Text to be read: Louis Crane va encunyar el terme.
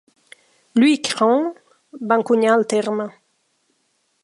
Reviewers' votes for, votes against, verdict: 2, 0, accepted